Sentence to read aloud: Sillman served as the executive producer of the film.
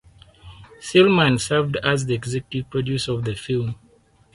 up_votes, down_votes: 2, 4